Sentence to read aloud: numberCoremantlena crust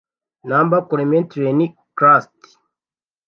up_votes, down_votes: 0, 2